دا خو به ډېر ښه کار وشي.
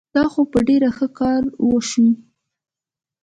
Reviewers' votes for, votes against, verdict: 2, 0, accepted